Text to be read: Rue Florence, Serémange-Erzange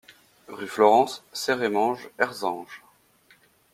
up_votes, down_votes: 2, 0